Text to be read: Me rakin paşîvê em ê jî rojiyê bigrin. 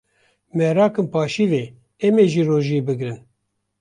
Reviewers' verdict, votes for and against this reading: accepted, 2, 0